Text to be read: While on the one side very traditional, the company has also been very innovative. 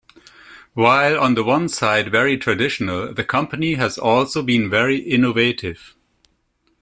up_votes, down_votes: 2, 0